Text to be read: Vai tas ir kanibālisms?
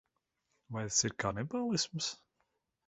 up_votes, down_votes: 0, 2